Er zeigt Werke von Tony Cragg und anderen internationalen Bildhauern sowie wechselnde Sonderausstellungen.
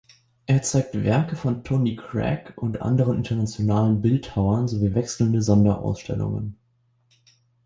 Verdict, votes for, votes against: accepted, 2, 0